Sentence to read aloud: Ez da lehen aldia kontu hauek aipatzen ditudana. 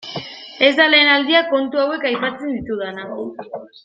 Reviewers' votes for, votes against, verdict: 2, 0, accepted